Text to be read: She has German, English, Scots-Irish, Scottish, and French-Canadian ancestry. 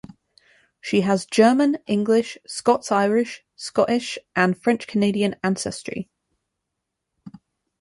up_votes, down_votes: 2, 0